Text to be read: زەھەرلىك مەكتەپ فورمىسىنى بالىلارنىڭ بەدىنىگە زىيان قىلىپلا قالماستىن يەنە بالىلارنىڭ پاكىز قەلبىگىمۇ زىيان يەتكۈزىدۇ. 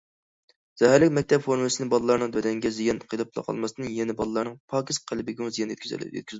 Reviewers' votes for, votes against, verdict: 0, 2, rejected